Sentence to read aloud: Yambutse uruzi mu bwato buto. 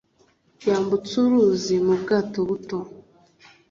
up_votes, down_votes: 2, 0